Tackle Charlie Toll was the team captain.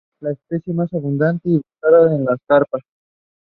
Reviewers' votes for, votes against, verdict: 0, 2, rejected